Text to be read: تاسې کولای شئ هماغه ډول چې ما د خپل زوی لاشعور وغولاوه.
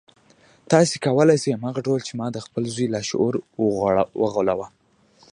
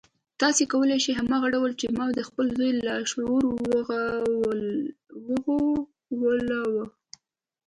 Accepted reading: second